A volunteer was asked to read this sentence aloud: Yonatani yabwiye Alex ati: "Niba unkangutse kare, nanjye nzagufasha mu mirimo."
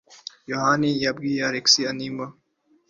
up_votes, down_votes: 1, 2